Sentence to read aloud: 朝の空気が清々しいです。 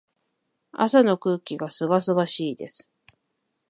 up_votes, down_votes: 1, 2